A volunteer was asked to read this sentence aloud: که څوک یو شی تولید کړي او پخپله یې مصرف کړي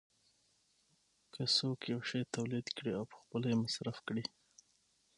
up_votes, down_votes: 6, 0